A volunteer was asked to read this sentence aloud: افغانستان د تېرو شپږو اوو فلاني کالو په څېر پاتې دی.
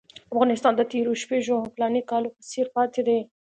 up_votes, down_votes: 2, 1